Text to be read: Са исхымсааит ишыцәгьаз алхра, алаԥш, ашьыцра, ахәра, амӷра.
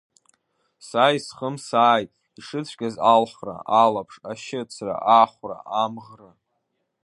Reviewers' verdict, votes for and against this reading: accepted, 2, 1